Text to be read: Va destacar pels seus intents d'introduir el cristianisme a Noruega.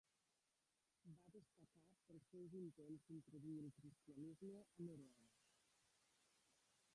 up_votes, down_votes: 0, 2